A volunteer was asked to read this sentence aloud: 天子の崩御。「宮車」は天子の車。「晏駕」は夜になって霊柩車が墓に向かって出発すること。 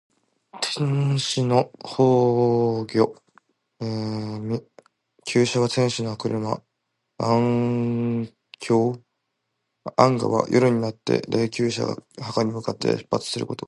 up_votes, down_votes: 1, 2